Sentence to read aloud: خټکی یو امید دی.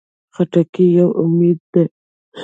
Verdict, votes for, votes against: rejected, 0, 2